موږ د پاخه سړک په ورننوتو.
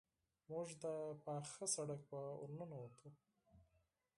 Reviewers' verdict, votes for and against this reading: rejected, 2, 4